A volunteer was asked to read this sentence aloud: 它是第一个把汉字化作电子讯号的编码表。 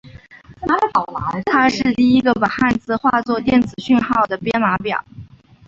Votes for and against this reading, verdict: 2, 0, accepted